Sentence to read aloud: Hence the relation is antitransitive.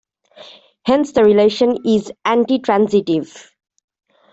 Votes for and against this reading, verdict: 2, 0, accepted